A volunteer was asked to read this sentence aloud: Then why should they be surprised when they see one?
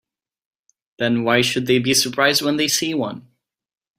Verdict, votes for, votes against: accepted, 2, 0